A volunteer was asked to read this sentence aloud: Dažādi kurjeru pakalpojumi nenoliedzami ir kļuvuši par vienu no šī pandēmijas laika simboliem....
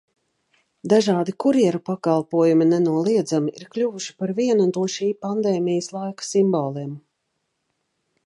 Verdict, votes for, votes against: accepted, 2, 0